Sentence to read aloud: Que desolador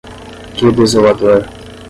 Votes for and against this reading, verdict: 5, 5, rejected